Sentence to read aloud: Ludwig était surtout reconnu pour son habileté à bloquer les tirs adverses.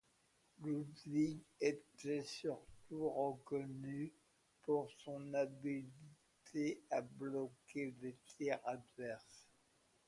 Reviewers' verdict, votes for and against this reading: rejected, 0, 2